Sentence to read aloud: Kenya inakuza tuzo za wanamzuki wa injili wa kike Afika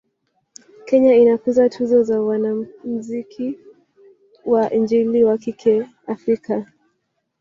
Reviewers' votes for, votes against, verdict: 3, 1, accepted